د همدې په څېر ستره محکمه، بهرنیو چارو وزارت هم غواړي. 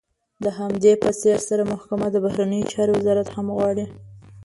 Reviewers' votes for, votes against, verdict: 0, 2, rejected